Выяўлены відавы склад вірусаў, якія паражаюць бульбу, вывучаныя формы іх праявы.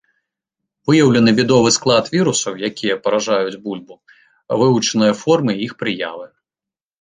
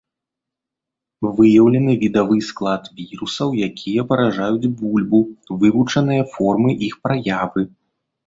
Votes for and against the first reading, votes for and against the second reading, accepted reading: 1, 2, 2, 0, second